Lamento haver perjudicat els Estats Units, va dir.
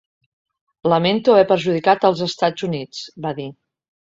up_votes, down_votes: 3, 0